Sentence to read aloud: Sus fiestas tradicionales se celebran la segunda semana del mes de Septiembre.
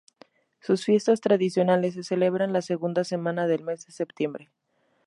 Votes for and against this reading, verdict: 2, 0, accepted